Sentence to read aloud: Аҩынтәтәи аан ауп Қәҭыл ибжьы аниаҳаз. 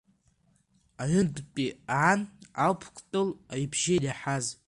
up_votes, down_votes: 1, 2